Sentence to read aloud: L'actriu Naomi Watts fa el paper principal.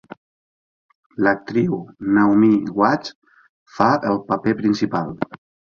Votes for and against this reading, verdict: 2, 0, accepted